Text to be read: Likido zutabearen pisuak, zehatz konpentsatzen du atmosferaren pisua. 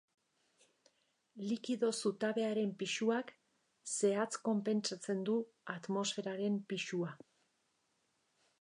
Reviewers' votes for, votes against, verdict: 2, 0, accepted